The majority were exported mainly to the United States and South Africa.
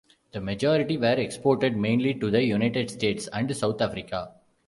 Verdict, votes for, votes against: accepted, 2, 0